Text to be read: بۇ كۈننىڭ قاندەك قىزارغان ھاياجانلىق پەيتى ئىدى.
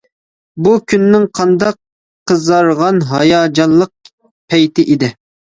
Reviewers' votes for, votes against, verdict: 0, 2, rejected